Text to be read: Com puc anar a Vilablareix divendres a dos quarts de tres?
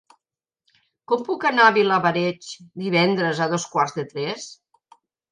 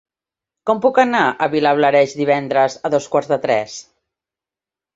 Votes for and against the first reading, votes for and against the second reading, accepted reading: 0, 2, 2, 0, second